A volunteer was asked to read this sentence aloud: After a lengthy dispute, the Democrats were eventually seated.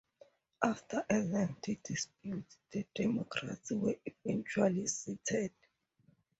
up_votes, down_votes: 0, 2